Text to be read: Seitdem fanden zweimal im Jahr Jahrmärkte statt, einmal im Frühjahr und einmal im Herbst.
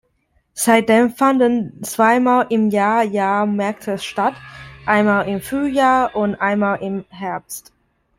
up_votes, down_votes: 2, 0